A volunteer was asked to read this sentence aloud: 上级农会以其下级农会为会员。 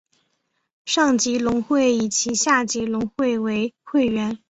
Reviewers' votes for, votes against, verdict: 3, 0, accepted